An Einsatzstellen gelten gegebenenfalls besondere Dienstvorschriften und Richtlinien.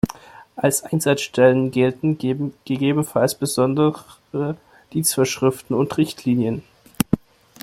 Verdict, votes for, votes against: rejected, 0, 2